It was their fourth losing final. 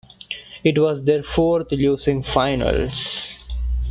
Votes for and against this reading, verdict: 0, 2, rejected